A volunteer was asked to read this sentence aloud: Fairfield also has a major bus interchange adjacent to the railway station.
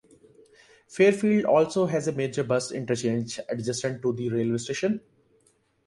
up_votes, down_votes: 2, 0